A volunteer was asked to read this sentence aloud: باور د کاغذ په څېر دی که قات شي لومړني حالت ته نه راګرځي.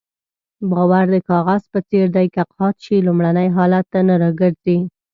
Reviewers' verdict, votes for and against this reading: accepted, 2, 0